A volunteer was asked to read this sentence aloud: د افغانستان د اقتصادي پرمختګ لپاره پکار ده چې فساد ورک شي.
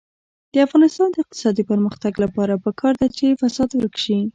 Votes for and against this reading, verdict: 0, 2, rejected